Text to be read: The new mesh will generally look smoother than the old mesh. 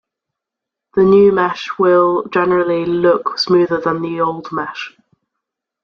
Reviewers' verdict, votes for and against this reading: accepted, 2, 0